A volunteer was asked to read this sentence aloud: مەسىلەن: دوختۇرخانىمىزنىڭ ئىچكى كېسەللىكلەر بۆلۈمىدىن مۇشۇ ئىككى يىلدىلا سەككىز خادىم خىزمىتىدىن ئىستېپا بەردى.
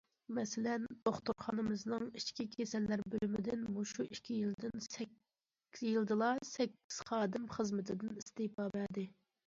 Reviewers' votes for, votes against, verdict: 0, 2, rejected